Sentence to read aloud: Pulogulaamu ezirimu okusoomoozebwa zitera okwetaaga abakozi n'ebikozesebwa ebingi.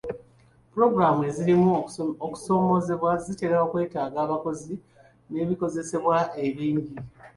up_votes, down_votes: 2, 1